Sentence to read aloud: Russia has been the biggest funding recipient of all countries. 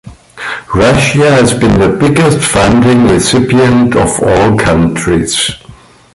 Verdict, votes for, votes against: rejected, 1, 2